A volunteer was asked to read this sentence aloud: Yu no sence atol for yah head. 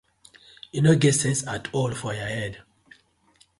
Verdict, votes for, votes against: accepted, 2, 0